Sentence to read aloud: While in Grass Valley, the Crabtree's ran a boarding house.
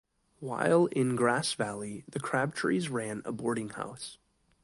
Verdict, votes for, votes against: accepted, 2, 1